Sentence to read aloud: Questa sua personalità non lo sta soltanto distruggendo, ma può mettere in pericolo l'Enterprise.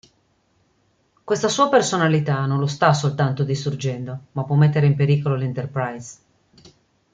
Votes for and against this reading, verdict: 2, 0, accepted